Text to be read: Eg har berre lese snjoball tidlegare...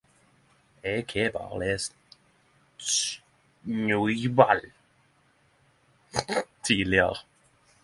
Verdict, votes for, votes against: rejected, 0, 10